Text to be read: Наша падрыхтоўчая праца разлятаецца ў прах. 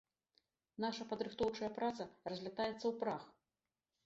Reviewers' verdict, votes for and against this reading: accepted, 2, 0